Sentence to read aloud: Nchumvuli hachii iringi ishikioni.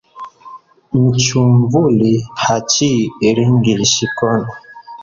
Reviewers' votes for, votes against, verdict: 1, 2, rejected